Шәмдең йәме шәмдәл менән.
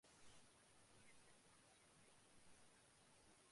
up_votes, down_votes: 0, 2